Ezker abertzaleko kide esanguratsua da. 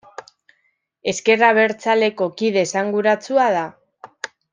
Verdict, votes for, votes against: accepted, 2, 0